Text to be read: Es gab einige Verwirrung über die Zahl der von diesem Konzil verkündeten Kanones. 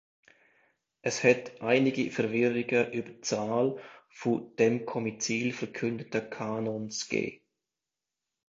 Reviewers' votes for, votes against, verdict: 0, 2, rejected